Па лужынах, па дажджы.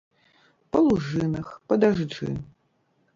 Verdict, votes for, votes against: rejected, 0, 2